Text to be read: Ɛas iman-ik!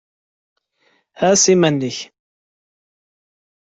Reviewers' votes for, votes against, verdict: 2, 0, accepted